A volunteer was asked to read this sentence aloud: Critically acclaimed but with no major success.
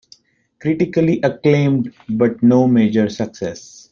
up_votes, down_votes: 0, 2